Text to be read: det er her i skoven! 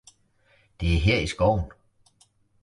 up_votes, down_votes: 2, 0